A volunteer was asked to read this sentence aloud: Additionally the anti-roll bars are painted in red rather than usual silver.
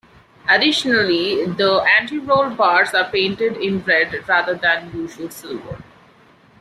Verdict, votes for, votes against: rejected, 1, 2